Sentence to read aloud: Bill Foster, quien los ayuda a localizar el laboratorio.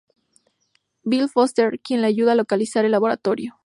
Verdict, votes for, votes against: accepted, 2, 0